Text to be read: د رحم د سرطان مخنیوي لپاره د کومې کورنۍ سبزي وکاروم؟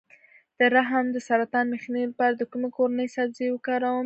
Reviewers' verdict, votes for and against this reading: rejected, 0, 2